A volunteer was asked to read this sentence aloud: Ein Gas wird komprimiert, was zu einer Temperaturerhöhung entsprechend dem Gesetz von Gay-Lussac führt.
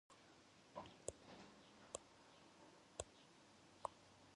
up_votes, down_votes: 0, 2